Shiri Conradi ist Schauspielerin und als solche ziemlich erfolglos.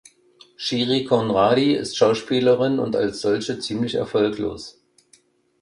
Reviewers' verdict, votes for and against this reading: accepted, 2, 0